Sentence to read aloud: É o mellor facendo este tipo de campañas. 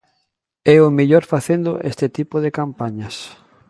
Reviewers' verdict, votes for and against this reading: accepted, 2, 0